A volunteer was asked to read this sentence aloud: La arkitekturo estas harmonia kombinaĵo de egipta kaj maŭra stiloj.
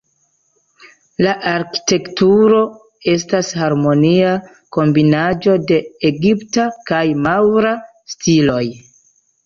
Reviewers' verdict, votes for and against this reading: accepted, 2, 0